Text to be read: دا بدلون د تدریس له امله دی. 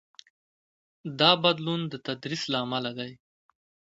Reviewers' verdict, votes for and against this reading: accepted, 2, 0